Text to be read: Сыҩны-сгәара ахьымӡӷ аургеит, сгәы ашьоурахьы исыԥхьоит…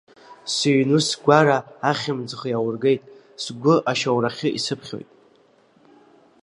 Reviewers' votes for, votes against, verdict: 2, 1, accepted